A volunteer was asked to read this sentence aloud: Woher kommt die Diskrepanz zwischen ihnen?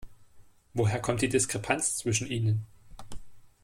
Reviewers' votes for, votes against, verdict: 2, 0, accepted